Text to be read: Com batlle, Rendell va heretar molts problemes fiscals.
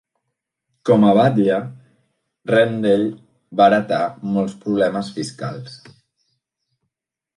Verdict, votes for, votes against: rejected, 0, 2